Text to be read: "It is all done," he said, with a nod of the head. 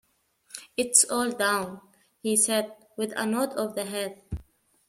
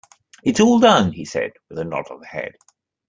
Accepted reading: second